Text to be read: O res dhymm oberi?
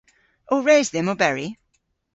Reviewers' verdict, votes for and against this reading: accepted, 2, 0